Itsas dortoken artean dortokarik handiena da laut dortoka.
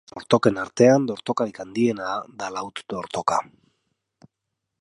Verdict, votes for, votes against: rejected, 0, 3